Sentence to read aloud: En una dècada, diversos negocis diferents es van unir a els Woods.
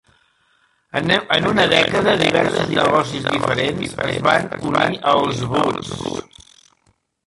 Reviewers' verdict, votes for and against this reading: rejected, 0, 2